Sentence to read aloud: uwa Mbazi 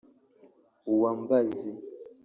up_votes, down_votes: 1, 2